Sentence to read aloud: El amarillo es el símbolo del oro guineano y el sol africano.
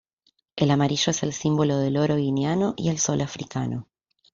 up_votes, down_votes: 2, 0